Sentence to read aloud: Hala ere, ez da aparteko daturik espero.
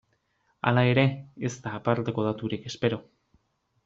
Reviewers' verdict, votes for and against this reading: accepted, 2, 0